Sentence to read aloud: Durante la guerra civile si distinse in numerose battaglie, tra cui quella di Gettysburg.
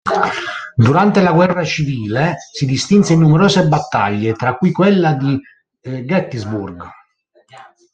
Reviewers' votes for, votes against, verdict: 2, 1, accepted